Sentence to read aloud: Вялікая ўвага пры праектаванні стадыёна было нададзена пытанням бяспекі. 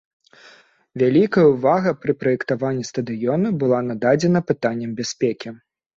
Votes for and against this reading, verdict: 0, 2, rejected